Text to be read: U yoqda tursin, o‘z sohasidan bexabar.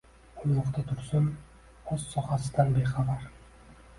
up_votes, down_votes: 0, 2